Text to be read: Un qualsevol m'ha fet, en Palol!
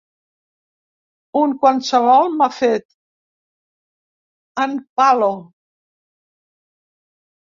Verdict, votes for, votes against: rejected, 0, 2